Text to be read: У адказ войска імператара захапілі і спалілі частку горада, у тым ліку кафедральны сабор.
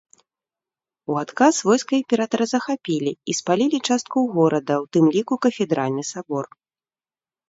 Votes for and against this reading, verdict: 2, 0, accepted